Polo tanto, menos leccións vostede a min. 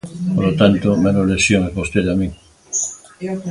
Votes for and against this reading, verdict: 1, 2, rejected